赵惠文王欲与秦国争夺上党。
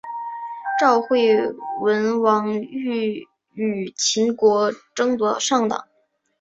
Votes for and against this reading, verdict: 2, 1, accepted